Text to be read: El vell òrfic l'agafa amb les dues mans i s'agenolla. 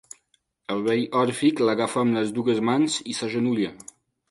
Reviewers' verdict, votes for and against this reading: accepted, 2, 0